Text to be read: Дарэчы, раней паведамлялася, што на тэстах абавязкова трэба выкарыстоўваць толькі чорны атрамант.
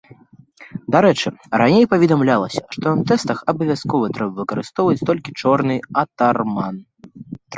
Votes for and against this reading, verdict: 0, 2, rejected